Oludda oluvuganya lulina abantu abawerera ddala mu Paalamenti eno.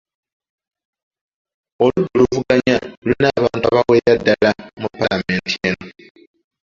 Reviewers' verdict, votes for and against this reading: rejected, 0, 2